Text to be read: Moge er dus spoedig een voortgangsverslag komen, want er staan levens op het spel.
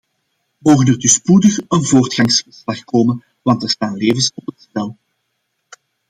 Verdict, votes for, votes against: rejected, 1, 2